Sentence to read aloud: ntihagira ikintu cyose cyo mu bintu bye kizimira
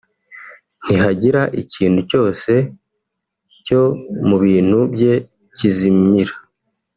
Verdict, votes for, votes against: rejected, 1, 2